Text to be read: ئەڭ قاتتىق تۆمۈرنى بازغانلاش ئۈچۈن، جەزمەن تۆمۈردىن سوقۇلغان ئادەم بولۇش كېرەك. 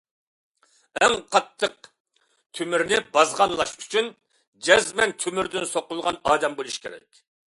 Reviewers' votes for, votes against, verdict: 2, 0, accepted